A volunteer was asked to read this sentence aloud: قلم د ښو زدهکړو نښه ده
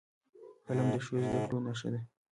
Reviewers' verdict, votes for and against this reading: rejected, 1, 2